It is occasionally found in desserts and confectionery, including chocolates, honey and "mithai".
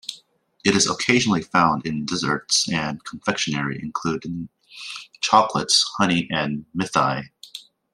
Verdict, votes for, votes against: accepted, 2, 1